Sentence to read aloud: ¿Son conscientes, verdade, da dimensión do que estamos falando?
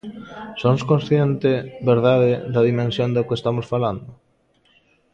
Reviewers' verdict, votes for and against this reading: rejected, 0, 2